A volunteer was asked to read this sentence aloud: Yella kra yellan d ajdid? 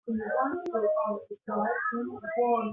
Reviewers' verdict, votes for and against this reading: rejected, 0, 2